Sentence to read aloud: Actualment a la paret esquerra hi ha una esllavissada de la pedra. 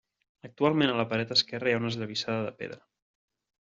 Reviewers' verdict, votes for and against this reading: rejected, 1, 2